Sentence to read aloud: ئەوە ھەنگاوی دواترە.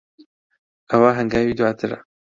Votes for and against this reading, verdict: 2, 0, accepted